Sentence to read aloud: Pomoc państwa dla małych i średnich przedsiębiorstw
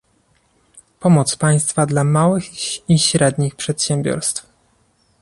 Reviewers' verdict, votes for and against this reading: accepted, 2, 0